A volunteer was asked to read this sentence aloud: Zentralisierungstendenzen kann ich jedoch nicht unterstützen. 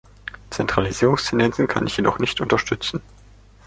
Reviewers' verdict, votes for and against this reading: accepted, 2, 0